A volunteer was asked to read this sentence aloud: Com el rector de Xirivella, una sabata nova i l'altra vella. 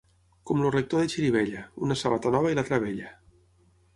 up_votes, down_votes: 3, 6